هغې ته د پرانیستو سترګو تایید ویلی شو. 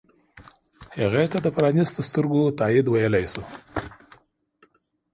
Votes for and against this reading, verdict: 2, 0, accepted